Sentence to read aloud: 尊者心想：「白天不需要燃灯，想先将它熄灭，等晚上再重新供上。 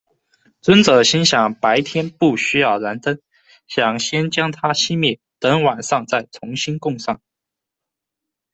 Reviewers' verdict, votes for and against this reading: accepted, 2, 0